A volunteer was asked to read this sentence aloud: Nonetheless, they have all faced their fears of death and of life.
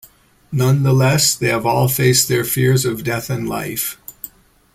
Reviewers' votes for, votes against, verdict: 0, 2, rejected